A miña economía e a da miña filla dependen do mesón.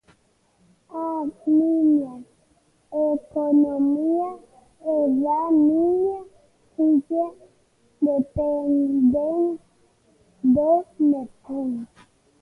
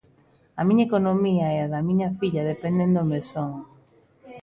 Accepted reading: second